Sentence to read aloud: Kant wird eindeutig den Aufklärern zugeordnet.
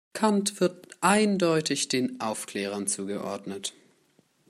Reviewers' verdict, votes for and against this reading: accepted, 2, 0